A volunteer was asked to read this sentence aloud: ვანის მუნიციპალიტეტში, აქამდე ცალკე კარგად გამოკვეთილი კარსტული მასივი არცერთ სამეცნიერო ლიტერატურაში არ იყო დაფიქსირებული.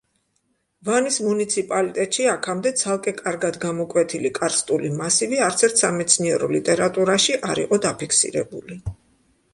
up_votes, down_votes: 2, 0